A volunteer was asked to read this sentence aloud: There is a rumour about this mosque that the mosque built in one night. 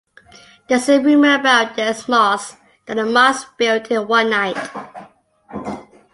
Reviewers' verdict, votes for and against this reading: accepted, 2, 0